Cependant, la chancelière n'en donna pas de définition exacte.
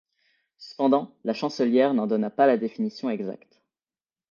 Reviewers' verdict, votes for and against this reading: rejected, 0, 2